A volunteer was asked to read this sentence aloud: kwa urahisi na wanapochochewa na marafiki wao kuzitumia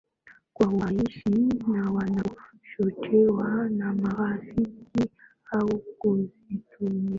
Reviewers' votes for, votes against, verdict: 1, 2, rejected